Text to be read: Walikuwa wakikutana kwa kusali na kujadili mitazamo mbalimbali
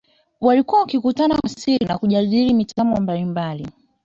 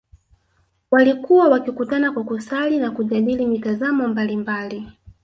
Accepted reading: second